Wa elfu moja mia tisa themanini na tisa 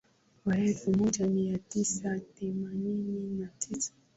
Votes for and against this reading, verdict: 2, 0, accepted